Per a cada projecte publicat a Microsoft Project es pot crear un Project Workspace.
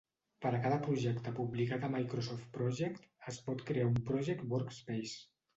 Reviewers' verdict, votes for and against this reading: rejected, 0, 2